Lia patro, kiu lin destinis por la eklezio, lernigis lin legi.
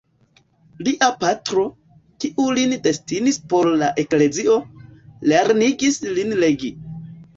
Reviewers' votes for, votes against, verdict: 0, 2, rejected